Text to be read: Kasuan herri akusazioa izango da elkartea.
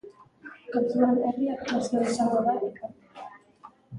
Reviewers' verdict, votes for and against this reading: rejected, 1, 2